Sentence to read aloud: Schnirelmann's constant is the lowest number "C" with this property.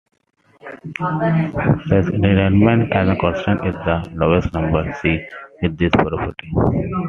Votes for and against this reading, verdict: 0, 2, rejected